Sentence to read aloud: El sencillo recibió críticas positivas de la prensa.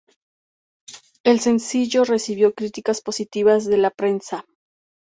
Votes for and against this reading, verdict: 0, 2, rejected